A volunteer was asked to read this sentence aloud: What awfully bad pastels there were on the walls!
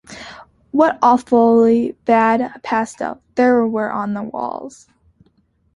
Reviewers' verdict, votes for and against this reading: rejected, 0, 2